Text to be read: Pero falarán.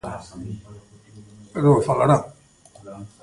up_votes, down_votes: 0, 2